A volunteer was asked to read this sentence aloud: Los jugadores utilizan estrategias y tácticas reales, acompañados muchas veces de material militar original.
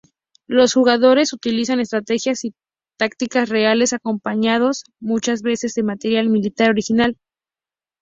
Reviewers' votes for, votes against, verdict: 2, 0, accepted